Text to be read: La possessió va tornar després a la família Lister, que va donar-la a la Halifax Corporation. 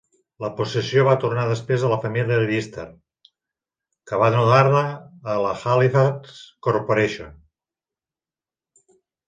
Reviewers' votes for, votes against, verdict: 2, 3, rejected